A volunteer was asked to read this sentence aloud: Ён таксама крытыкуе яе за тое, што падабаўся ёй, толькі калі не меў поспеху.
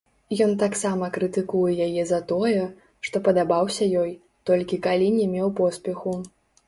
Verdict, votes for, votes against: rejected, 0, 2